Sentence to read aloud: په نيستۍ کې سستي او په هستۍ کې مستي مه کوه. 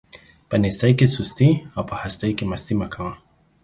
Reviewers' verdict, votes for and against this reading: accepted, 3, 0